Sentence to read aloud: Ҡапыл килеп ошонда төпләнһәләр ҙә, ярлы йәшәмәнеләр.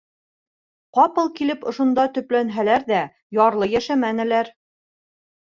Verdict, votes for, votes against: rejected, 1, 2